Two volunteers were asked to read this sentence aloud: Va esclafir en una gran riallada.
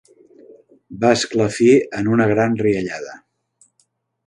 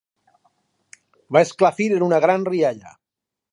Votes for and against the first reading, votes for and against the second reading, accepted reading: 2, 0, 0, 4, first